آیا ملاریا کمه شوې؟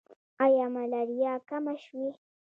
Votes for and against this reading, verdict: 1, 2, rejected